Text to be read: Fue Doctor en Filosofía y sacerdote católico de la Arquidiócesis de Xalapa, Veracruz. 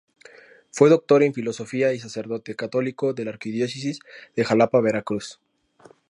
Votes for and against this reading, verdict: 2, 0, accepted